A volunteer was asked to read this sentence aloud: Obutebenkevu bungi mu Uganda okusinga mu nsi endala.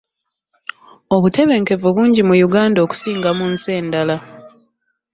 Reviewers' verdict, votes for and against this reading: accepted, 2, 0